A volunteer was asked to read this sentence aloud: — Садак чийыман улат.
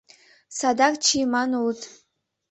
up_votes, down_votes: 0, 2